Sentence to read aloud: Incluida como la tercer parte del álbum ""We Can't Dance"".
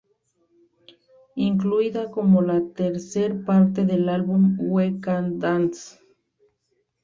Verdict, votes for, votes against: rejected, 1, 2